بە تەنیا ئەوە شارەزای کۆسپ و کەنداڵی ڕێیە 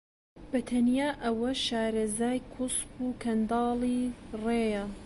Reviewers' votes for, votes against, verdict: 2, 0, accepted